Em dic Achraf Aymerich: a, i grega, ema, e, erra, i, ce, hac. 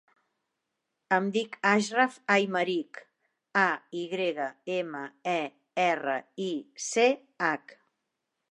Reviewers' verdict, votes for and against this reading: rejected, 0, 2